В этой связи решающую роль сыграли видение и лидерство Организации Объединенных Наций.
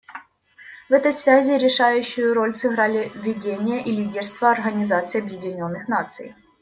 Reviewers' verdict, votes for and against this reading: rejected, 0, 2